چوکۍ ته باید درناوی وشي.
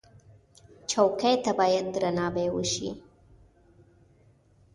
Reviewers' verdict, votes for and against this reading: accepted, 2, 0